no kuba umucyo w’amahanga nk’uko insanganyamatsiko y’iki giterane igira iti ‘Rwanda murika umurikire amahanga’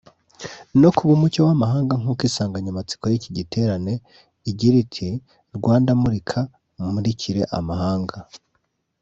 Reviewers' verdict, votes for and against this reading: accepted, 2, 0